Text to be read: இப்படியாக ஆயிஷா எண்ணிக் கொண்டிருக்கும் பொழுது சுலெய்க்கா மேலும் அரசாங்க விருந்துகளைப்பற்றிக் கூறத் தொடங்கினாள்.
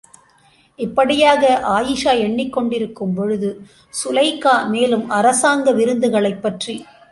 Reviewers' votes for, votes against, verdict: 1, 2, rejected